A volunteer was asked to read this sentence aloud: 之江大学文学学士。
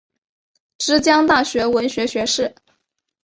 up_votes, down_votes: 2, 0